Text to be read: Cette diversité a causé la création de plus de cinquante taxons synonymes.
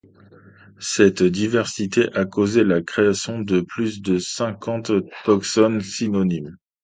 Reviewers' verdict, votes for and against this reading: rejected, 0, 2